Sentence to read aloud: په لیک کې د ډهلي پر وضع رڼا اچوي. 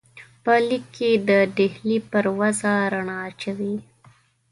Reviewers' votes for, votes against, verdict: 2, 0, accepted